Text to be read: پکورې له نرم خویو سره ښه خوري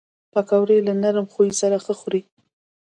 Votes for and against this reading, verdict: 2, 0, accepted